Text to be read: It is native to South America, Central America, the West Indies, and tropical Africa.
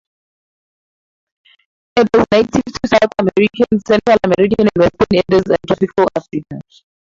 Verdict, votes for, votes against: rejected, 0, 4